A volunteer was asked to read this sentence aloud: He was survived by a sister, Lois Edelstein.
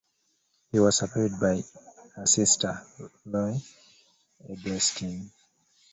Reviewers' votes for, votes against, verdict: 1, 2, rejected